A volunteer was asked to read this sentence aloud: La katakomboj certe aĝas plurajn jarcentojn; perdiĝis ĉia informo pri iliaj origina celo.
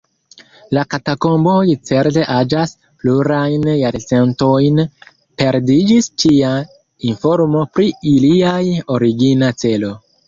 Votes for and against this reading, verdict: 1, 2, rejected